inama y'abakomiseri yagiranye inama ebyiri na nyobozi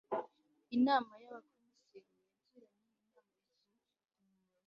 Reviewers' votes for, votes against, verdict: 1, 2, rejected